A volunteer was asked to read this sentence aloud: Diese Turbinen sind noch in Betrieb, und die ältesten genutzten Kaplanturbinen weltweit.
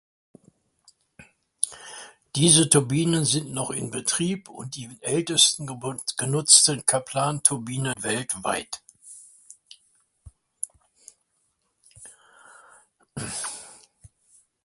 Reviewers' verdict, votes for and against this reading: rejected, 0, 2